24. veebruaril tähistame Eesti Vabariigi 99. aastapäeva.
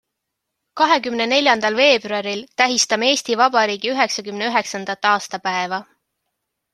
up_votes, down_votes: 0, 2